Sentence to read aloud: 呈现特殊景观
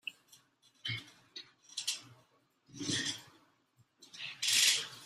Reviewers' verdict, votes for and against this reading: rejected, 0, 2